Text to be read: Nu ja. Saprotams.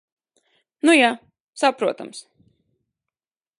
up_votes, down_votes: 2, 0